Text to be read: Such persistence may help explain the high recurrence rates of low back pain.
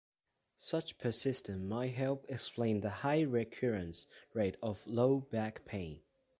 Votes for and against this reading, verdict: 1, 2, rejected